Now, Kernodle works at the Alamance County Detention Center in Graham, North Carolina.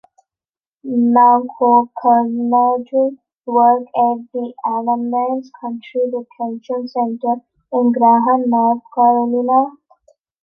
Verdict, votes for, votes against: rejected, 0, 2